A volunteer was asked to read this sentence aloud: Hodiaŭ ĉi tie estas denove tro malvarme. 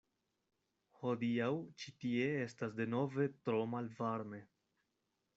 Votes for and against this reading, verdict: 2, 0, accepted